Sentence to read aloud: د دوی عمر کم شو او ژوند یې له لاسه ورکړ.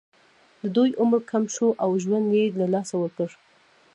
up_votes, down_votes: 2, 0